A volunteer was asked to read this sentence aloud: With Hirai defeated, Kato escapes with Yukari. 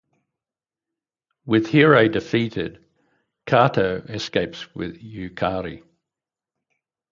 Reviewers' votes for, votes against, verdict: 4, 0, accepted